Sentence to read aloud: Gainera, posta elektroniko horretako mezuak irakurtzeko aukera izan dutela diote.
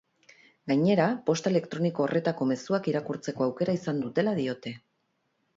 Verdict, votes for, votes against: accepted, 4, 0